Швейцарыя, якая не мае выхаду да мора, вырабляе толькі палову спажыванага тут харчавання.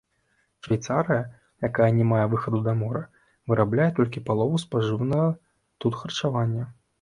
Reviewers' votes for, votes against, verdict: 2, 0, accepted